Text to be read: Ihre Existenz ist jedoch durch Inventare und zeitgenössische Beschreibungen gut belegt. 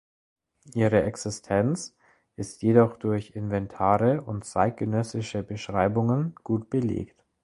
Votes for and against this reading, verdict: 2, 0, accepted